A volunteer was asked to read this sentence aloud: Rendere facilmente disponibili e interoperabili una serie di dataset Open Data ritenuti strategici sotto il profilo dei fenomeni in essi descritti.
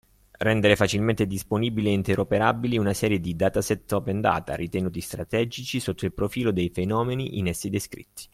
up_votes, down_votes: 2, 1